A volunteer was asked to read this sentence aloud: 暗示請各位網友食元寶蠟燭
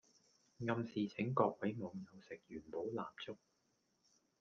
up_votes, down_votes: 1, 2